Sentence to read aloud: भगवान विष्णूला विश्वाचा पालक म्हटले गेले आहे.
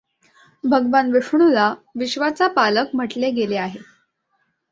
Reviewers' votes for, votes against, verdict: 2, 0, accepted